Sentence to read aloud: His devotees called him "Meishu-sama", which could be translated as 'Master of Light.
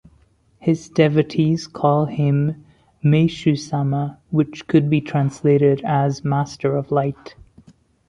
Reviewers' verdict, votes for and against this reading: accepted, 2, 0